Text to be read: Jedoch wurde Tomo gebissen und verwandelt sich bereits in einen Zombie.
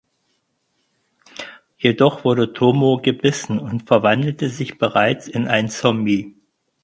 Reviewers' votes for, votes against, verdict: 0, 4, rejected